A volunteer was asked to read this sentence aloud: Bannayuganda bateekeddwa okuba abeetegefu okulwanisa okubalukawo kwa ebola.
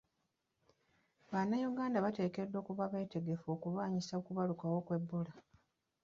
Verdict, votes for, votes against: rejected, 1, 2